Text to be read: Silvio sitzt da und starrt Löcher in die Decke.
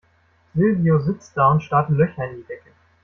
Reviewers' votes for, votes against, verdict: 2, 0, accepted